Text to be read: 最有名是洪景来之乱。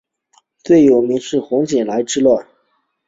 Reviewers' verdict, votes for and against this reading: accepted, 2, 0